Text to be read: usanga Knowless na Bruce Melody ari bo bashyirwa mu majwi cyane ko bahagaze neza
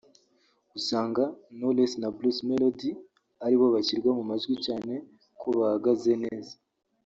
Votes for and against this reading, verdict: 1, 2, rejected